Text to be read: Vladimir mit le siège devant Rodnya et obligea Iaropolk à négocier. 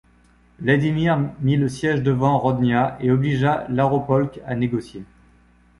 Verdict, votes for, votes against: rejected, 1, 2